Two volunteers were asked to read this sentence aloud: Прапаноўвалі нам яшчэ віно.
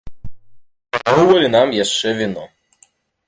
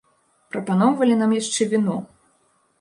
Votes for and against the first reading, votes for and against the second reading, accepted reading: 1, 2, 2, 0, second